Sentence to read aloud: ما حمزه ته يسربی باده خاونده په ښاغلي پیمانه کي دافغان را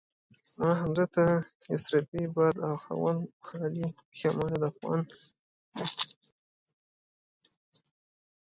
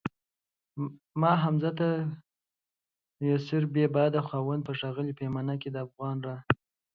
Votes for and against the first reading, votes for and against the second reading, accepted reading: 0, 2, 2, 0, second